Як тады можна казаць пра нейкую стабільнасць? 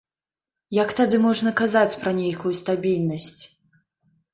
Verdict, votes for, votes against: accepted, 2, 0